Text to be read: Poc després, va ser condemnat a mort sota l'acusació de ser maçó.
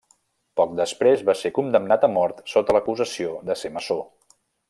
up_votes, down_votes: 2, 0